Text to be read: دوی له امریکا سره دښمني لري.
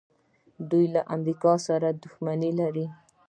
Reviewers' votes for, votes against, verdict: 2, 0, accepted